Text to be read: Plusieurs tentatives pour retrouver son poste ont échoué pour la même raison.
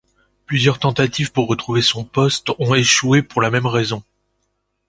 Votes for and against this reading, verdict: 2, 0, accepted